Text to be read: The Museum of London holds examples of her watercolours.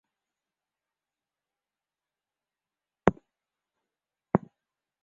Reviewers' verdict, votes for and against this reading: rejected, 0, 2